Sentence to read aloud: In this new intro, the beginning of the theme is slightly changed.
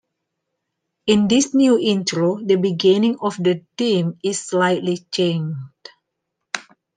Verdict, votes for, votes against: accepted, 2, 1